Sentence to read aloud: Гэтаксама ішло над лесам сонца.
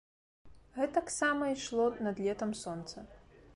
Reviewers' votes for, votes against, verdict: 0, 2, rejected